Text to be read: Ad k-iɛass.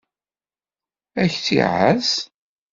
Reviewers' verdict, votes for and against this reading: rejected, 1, 2